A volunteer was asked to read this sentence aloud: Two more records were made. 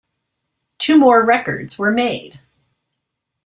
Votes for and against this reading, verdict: 2, 0, accepted